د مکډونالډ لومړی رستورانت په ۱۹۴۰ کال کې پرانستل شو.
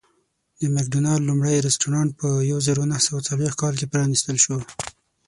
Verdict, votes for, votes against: rejected, 0, 2